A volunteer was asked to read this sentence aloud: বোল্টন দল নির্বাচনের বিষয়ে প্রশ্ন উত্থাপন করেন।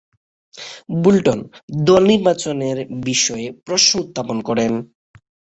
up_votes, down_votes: 3, 0